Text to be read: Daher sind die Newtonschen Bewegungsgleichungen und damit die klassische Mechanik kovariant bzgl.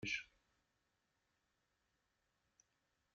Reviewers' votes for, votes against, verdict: 0, 2, rejected